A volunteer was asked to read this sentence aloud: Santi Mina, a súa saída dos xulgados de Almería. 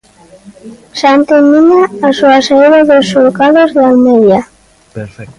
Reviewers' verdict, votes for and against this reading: rejected, 0, 2